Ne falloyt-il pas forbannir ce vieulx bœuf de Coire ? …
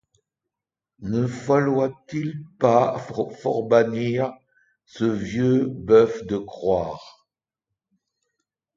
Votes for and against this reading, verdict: 1, 2, rejected